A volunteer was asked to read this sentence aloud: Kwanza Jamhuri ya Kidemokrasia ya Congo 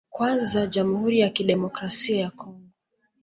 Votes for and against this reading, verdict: 0, 2, rejected